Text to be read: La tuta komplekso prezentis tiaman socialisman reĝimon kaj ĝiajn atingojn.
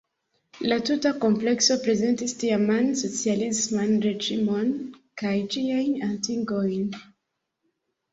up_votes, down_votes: 1, 2